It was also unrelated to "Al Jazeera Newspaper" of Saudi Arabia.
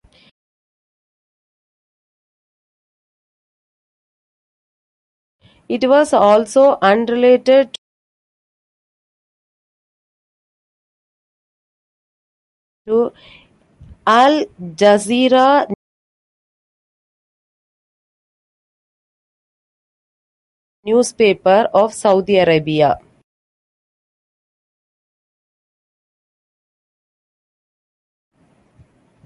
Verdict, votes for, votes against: rejected, 0, 2